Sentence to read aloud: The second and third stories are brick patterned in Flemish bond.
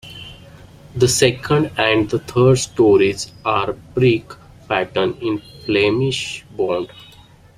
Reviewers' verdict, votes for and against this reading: rejected, 1, 2